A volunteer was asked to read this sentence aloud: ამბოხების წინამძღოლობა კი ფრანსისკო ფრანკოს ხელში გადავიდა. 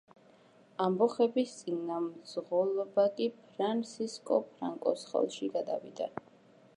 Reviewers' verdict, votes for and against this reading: accepted, 2, 0